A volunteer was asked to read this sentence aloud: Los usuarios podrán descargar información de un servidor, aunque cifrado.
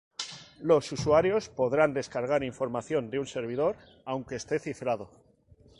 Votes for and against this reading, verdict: 0, 2, rejected